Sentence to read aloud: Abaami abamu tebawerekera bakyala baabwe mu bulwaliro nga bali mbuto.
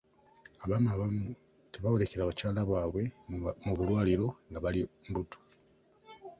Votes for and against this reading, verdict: 3, 0, accepted